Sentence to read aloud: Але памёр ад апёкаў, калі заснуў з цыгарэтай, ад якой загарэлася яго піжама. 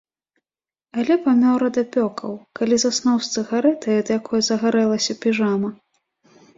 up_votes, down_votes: 1, 2